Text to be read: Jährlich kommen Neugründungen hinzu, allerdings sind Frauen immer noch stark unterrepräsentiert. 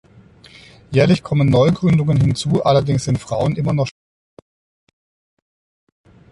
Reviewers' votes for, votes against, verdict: 0, 2, rejected